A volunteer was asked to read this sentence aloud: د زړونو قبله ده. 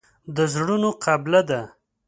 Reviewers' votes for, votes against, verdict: 2, 0, accepted